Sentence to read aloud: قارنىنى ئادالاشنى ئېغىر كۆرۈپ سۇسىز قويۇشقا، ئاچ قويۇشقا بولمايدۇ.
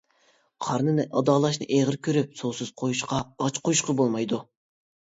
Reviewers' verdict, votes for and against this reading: accepted, 2, 0